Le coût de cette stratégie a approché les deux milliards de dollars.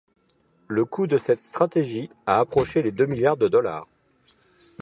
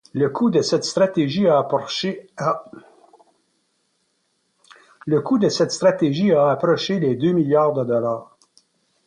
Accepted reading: first